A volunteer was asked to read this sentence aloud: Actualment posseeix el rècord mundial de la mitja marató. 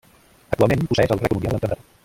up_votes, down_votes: 0, 2